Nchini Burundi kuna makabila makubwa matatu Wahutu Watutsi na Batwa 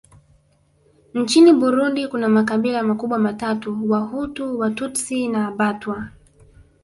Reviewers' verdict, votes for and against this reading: accepted, 2, 0